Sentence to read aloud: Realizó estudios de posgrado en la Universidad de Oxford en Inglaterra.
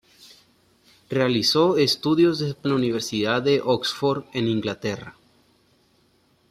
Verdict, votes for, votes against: rejected, 1, 2